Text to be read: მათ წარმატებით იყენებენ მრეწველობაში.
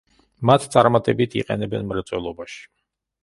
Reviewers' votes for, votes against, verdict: 2, 0, accepted